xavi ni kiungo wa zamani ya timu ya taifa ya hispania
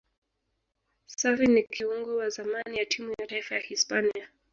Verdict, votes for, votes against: rejected, 0, 2